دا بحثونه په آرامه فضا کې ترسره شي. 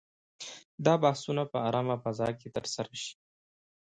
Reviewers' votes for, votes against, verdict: 2, 0, accepted